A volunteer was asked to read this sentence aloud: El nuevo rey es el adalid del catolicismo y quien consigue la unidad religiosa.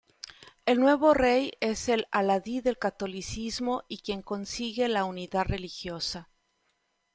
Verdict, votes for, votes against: accepted, 2, 1